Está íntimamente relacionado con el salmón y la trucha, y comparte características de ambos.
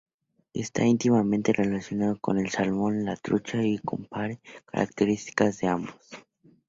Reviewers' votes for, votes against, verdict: 0, 2, rejected